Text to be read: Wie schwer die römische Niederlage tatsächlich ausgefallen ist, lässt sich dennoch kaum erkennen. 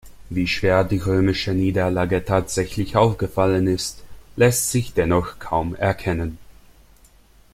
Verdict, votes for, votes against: rejected, 1, 2